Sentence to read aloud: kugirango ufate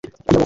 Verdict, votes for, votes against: rejected, 0, 2